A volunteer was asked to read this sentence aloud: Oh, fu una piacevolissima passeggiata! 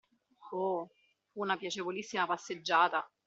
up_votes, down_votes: 0, 2